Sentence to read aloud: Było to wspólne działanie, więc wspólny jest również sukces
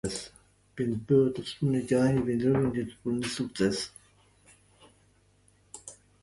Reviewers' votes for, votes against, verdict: 1, 2, rejected